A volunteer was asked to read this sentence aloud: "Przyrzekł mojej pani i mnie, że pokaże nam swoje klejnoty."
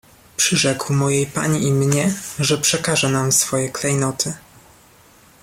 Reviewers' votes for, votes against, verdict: 1, 2, rejected